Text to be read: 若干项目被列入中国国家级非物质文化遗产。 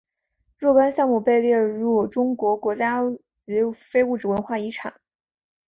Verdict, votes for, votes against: accepted, 3, 0